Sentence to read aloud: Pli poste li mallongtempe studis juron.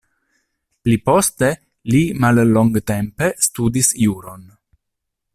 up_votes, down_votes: 0, 2